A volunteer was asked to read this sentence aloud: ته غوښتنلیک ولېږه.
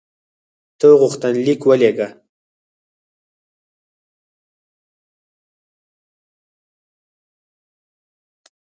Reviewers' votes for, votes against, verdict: 2, 4, rejected